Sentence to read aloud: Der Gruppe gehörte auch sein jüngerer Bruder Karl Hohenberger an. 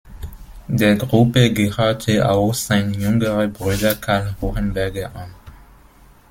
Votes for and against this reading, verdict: 2, 0, accepted